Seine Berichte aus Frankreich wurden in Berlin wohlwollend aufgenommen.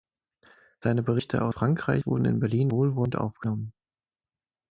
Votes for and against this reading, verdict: 3, 6, rejected